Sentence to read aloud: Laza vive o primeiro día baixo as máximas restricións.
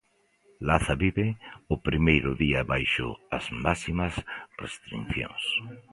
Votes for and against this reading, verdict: 1, 2, rejected